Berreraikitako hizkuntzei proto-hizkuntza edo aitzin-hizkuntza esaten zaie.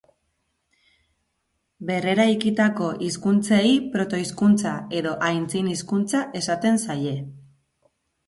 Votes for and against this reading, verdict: 0, 2, rejected